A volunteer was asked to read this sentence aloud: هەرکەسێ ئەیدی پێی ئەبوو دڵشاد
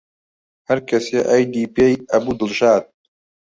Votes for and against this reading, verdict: 2, 1, accepted